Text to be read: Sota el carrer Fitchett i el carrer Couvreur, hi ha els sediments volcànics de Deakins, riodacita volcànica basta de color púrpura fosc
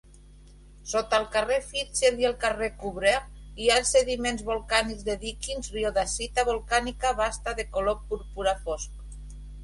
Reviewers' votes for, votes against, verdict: 1, 2, rejected